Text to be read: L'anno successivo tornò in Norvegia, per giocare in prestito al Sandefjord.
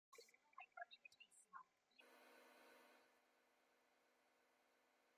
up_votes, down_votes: 0, 3